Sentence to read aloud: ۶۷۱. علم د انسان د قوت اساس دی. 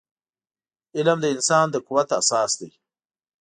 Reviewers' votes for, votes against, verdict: 0, 2, rejected